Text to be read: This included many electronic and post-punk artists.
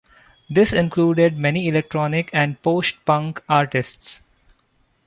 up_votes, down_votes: 2, 0